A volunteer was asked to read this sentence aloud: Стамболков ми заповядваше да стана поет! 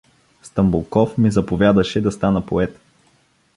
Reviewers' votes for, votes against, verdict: 0, 2, rejected